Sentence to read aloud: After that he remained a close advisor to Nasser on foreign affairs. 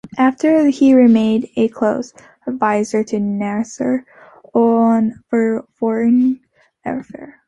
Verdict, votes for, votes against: rejected, 0, 2